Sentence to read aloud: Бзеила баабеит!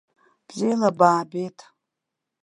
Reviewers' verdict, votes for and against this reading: rejected, 0, 2